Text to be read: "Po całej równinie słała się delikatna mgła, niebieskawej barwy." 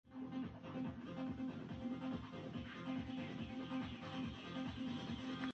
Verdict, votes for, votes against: rejected, 0, 2